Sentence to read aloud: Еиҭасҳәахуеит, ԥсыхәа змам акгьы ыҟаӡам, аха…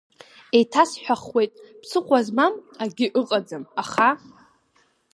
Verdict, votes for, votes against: accepted, 3, 0